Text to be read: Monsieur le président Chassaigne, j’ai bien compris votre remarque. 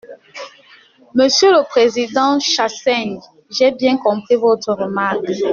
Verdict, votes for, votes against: accepted, 2, 1